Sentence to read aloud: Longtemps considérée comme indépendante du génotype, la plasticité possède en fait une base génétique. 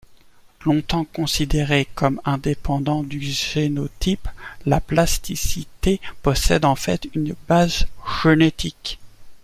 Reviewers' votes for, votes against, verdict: 0, 2, rejected